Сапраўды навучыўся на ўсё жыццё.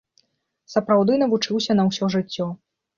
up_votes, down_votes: 2, 0